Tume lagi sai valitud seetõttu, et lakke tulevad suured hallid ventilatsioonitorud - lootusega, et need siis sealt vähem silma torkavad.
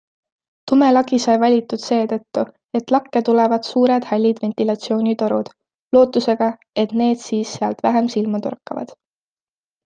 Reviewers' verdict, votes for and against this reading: accepted, 2, 0